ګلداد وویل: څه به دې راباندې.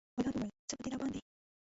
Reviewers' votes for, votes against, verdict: 0, 2, rejected